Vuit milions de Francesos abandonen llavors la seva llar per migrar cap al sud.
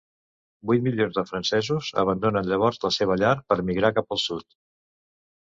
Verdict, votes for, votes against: accepted, 2, 0